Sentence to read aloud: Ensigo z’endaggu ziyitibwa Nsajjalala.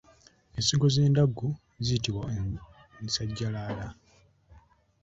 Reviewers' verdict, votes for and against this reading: accepted, 2, 0